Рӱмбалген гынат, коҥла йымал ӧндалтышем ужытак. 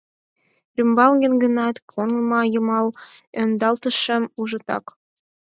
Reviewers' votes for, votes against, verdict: 2, 4, rejected